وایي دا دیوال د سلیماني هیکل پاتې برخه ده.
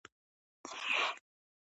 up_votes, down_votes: 0, 2